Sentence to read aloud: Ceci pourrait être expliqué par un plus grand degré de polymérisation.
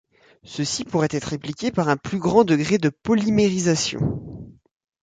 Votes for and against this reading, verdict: 0, 2, rejected